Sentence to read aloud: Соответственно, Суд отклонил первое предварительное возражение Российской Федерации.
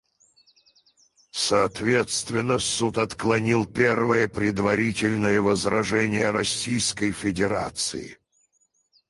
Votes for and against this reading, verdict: 0, 4, rejected